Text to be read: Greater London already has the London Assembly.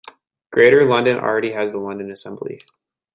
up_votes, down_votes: 2, 0